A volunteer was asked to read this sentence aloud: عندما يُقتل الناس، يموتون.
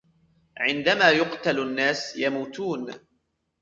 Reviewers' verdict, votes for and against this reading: accepted, 2, 1